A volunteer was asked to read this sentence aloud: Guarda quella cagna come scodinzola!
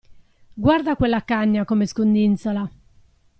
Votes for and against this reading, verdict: 0, 2, rejected